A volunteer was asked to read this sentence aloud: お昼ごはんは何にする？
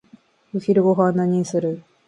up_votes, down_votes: 1, 2